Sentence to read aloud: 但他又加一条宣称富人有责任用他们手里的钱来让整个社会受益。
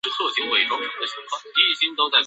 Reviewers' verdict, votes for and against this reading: rejected, 0, 2